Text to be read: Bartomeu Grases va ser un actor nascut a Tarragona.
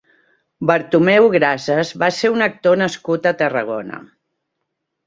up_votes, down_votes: 1, 2